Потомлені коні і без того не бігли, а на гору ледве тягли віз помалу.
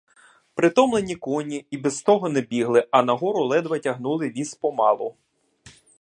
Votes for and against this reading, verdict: 1, 2, rejected